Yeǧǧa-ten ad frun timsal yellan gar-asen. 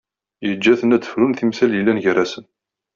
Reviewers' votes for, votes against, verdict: 2, 0, accepted